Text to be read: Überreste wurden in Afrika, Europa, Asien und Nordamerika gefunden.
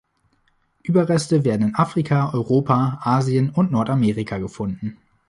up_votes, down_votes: 0, 3